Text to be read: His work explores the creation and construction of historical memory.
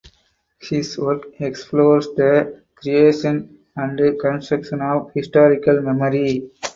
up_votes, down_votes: 2, 0